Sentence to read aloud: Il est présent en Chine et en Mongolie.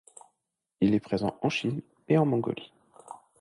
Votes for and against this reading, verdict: 2, 0, accepted